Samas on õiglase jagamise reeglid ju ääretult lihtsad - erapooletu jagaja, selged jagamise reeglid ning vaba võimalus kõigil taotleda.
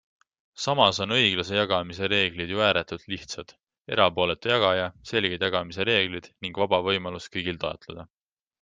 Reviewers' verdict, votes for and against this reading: accepted, 2, 0